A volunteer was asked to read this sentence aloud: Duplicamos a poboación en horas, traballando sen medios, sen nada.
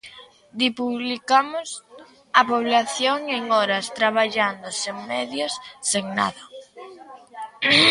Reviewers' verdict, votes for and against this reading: rejected, 0, 2